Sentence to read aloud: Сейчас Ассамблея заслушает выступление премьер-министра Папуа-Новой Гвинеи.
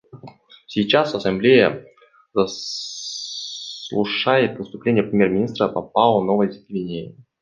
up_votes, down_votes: 1, 2